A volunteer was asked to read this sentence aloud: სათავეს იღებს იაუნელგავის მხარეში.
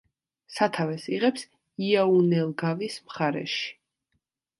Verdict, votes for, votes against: accepted, 2, 0